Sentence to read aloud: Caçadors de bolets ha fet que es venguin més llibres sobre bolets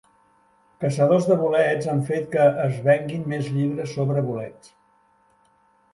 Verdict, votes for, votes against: rejected, 0, 2